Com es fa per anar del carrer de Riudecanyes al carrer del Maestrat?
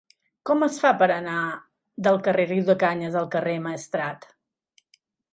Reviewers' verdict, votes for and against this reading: rejected, 1, 2